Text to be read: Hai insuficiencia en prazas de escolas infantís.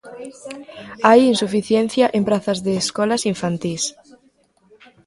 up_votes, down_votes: 2, 0